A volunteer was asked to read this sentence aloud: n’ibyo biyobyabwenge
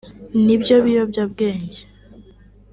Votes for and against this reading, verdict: 2, 0, accepted